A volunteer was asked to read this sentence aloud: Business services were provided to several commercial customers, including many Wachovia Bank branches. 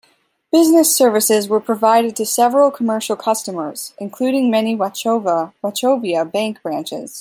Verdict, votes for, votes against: rejected, 0, 2